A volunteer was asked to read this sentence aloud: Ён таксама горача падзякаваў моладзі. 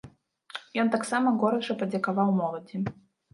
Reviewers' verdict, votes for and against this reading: rejected, 1, 2